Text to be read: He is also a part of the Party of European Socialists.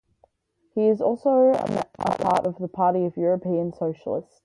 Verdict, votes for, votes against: rejected, 0, 4